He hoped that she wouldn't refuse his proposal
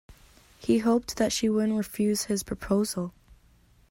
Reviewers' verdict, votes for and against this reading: accepted, 2, 0